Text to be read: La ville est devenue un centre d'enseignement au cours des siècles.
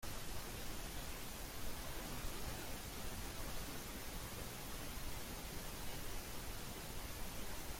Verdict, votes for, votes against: rejected, 0, 2